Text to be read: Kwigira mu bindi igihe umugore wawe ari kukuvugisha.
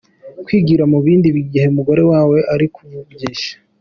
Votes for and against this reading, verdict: 3, 1, accepted